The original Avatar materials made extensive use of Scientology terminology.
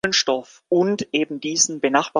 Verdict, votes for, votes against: rejected, 0, 2